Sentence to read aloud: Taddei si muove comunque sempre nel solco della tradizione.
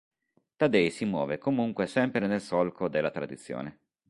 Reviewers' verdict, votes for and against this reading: accepted, 2, 0